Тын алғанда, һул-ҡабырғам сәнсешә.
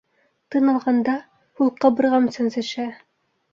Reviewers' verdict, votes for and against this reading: rejected, 0, 2